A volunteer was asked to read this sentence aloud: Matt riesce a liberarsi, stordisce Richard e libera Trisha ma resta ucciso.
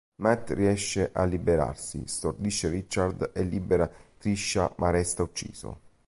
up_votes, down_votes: 2, 0